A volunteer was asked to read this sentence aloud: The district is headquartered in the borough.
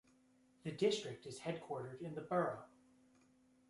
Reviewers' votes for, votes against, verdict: 0, 2, rejected